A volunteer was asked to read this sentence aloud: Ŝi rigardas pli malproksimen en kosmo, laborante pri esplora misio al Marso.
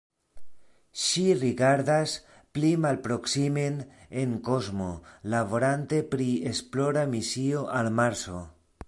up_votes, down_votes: 2, 0